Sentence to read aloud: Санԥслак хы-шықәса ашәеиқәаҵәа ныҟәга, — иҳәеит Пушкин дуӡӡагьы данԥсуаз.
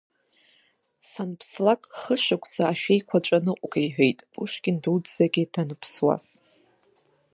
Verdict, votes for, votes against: accepted, 2, 1